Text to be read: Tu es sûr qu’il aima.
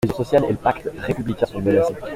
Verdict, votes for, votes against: rejected, 0, 2